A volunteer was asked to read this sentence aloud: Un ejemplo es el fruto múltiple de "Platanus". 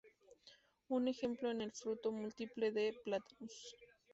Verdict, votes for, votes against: rejected, 0, 2